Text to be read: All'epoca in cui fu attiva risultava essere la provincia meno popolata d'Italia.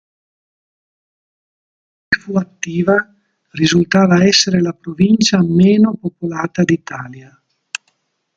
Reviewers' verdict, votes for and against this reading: rejected, 1, 2